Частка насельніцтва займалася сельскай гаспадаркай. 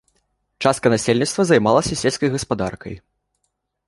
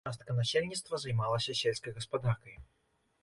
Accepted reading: first